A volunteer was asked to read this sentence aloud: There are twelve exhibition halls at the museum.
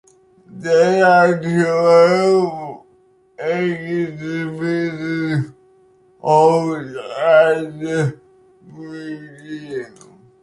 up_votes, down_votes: 1, 2